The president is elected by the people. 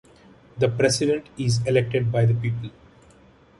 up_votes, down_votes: 2, 0